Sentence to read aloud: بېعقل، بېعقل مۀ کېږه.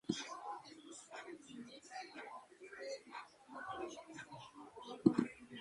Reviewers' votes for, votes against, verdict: 0, 2, rejected